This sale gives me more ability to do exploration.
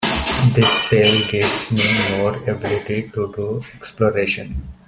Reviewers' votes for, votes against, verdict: 2, 1, accepted